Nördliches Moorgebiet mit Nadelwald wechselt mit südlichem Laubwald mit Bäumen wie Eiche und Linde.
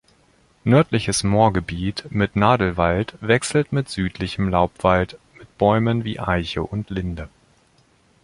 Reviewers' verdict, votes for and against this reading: rejected, 1, 2